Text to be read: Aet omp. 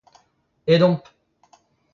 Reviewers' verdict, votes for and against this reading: accepted, 2, 0